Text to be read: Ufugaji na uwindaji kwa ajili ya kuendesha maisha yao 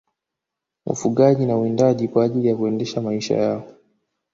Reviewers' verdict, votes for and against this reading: accepted, 2, 0